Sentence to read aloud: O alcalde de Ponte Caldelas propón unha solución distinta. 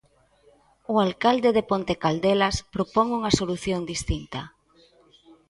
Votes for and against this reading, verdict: 2, 0, accepted